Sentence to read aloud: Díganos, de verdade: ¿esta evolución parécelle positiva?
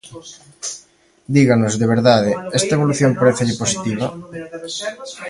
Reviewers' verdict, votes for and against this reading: accepted, 2, 0